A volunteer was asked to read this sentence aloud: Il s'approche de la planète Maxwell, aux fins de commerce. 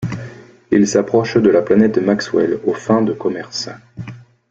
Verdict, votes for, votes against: accepted, 2, 0